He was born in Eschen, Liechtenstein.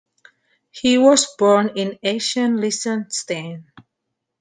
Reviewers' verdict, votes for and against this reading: accepted, 2, 1